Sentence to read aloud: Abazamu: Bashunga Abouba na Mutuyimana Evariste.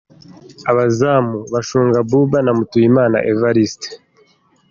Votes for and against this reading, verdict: 2, 1, accepted